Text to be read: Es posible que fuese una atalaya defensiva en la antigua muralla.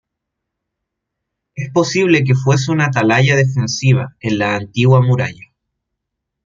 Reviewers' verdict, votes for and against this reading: accepted, 2, 1